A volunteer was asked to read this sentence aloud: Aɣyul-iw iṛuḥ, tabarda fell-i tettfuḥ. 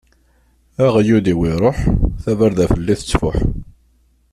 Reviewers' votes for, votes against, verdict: 2, 1, accepted